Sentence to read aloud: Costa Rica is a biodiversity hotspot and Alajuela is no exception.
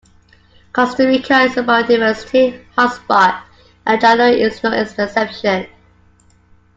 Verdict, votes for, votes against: accepted, 2, 0